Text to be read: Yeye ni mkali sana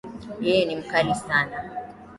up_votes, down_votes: 2, 0